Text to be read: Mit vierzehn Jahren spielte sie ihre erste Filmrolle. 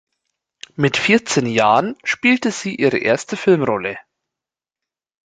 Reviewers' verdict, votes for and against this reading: rejected, 1, 2